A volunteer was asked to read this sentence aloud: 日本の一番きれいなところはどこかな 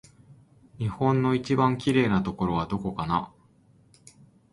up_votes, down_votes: 2, 0